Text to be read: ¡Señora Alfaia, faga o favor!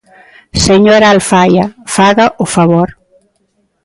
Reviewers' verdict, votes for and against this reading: accepted, 2, 1